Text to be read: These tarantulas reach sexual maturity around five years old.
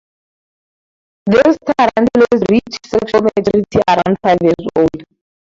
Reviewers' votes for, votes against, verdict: 0, 4, rejected